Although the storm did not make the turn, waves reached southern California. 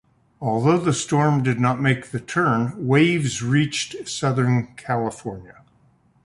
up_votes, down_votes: 2, 0